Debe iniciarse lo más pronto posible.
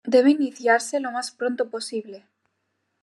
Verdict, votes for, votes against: accepted, 2, 0